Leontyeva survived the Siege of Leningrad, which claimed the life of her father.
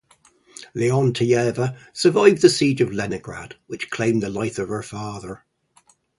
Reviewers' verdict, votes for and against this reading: rejected, 0, 2